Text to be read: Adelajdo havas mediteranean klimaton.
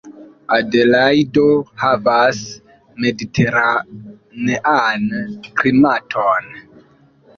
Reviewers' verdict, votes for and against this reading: accepted, 2, 1